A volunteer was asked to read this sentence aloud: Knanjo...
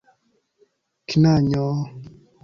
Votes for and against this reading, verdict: 2, 0, accepted